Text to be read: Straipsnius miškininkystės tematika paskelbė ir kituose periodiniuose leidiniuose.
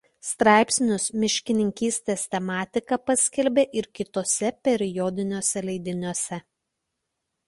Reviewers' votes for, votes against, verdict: 2, 0, accepted